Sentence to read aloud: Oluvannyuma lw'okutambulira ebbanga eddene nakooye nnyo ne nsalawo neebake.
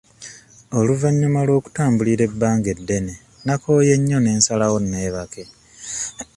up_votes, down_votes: 1, 2